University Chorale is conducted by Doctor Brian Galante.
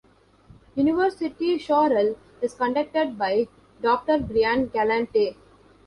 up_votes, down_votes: 1, 2